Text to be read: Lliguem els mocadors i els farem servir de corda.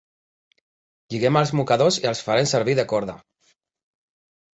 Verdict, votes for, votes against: rejected, 1, 2